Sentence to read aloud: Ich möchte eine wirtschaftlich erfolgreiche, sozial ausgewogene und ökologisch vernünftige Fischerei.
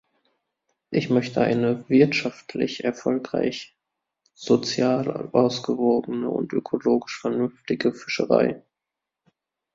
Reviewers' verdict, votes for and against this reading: rejected, 0, 2